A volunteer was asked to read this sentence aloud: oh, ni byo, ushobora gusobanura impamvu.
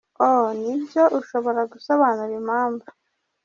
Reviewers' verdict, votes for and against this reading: rejected, 0, 2